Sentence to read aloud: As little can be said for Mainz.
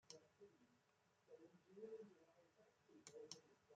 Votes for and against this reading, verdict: 0, 2, rejected